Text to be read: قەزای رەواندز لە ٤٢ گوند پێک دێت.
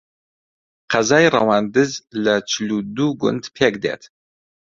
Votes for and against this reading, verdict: 0, 2, rejected